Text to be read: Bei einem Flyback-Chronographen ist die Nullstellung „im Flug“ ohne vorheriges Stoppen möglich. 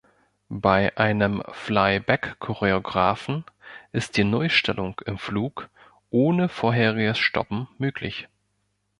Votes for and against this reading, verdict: 0, 4, rejected